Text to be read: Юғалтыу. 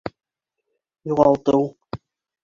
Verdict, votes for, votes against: rejected, 1, 2